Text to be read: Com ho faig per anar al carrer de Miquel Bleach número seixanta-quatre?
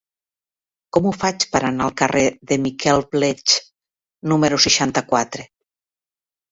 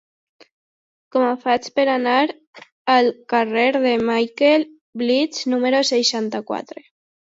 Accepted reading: first